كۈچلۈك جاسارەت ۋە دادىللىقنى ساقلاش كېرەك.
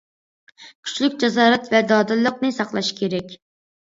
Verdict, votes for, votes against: accepted, 2, 0